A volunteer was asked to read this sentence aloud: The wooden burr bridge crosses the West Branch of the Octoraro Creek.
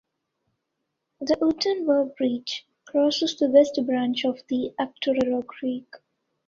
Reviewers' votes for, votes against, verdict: 1, 2, rejected